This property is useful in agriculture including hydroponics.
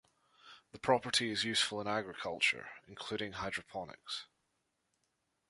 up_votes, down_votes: 0, 2